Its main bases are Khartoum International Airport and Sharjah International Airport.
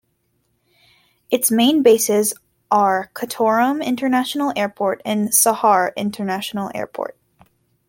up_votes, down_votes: 1, 2